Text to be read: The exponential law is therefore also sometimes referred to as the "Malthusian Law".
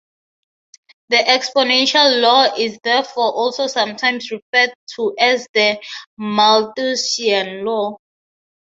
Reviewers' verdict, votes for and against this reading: rejected, 3, 3